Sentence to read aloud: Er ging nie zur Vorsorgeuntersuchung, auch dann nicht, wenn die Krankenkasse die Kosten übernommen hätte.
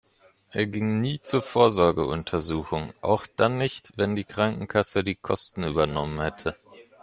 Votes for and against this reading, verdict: 2, 0, accepted